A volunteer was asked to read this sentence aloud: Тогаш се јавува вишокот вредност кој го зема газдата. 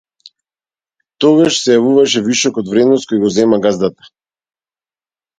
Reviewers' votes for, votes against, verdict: 0, 2, rejected